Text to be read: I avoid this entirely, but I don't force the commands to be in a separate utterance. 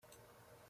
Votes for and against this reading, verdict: 0, 2, rejected